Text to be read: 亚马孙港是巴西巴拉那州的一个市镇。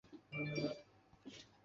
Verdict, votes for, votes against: rejected, 0, 2